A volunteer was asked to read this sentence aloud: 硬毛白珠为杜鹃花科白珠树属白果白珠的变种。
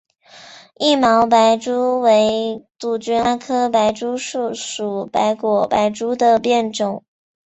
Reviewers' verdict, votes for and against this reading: rejected, 2, 4